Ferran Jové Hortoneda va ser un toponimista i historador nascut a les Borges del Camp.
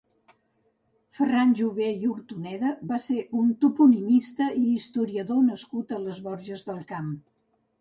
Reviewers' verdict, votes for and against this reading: rejected, 1, 2